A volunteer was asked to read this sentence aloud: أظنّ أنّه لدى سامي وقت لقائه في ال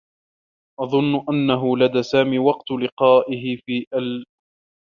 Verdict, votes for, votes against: rejected, 1, 2